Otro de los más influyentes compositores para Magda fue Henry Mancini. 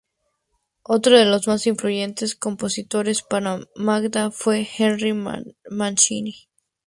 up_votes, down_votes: 0, 2